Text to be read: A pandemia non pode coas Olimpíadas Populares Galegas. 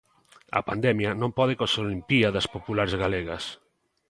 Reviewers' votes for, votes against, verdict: 2, 0, accepted